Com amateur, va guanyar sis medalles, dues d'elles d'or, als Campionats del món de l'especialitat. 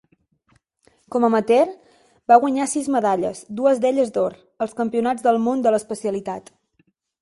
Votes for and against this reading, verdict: 3, 0, accepted